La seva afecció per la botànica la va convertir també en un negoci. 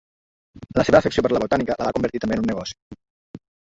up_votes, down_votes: 1, 2